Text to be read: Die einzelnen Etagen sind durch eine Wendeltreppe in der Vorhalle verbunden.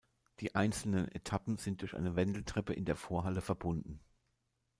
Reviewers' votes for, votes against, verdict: 0, 2, rejected